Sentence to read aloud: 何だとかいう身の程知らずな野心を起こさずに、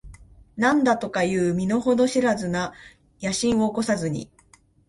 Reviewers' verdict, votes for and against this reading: accepted, 8, 0